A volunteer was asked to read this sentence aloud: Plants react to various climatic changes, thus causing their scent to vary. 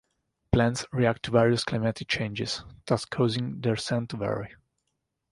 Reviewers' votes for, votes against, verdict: 2, 1, accepted